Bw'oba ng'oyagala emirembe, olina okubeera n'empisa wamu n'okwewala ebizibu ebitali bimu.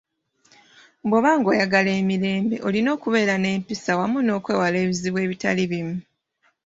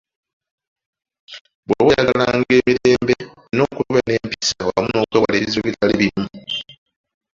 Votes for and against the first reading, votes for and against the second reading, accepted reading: 2, 1, 0, 2, first